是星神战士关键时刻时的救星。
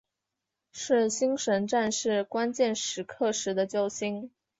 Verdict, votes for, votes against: accepted, 7, 0